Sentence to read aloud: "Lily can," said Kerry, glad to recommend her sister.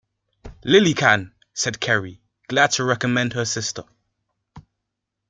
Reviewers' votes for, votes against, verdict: 2, 0, accepted